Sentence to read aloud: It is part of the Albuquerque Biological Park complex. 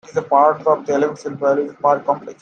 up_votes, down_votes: 0, 2